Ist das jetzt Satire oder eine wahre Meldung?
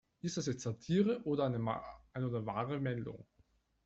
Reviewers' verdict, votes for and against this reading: rejected, 0, 2